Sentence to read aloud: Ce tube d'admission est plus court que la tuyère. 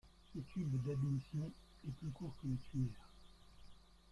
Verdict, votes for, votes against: rejected, 0, 3